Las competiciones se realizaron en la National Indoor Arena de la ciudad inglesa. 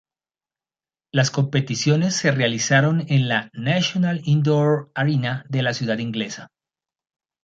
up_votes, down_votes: 0, 2